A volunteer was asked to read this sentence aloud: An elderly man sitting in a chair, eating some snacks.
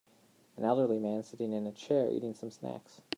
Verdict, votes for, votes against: accepted, 2, 0